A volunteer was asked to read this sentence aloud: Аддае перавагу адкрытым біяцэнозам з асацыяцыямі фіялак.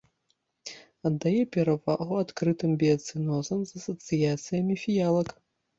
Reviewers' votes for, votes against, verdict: 2, 0, accepted